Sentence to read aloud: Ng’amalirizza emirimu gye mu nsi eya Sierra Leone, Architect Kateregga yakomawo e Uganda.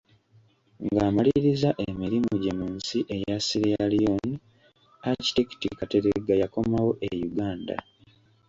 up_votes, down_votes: 2, 0